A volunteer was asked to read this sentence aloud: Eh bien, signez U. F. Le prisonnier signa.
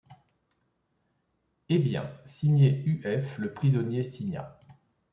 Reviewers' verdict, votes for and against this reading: accepted, 2, 0